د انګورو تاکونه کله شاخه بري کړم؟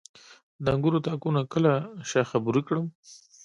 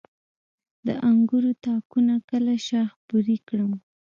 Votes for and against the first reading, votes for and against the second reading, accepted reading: 3, 0, 0, 2, first